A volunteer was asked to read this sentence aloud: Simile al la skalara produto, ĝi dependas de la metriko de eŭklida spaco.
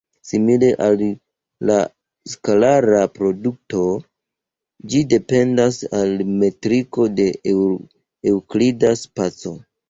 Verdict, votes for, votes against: rejected, 1, 2